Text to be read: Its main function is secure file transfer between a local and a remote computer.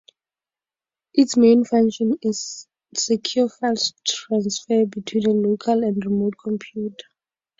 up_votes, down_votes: 2, 0